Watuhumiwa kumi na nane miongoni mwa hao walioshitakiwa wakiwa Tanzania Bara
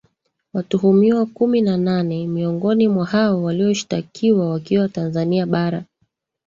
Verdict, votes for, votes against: accepted, 2, 1